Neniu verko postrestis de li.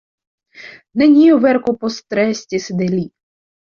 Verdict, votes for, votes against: accepted, 2, 0